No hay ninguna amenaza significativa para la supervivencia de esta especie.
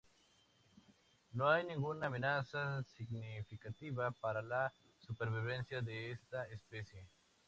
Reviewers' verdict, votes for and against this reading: accepted, 2, 0